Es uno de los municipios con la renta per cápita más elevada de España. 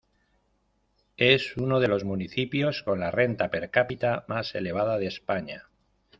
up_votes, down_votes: 2, 0